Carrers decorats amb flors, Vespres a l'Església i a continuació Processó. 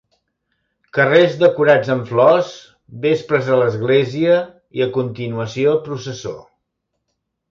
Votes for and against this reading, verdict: 2, 0, accepted